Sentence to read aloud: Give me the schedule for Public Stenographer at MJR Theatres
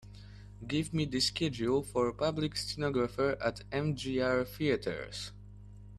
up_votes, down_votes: 2, 1